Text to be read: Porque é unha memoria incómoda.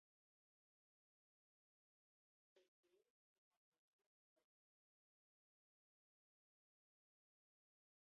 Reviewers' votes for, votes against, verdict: 0, 2, rejected